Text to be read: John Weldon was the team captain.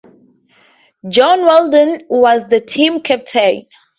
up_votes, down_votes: 4, 0